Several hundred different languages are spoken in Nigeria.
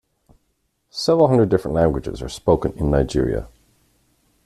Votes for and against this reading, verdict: 2, 0, accepted